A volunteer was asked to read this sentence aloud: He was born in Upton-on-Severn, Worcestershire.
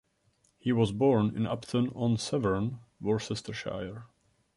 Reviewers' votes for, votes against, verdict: 1, 2, rejected